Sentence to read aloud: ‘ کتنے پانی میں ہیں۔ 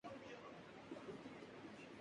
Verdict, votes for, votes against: rejected, 0, 3